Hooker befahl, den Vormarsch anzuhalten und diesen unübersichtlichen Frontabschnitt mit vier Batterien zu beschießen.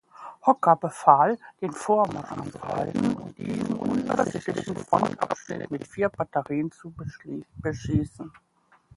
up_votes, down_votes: 0, 2